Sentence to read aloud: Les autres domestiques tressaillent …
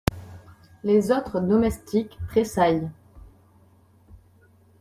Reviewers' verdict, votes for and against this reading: accepted, 2, 0